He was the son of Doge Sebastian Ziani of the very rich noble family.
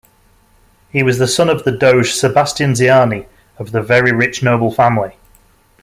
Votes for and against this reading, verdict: 0, 2, rejected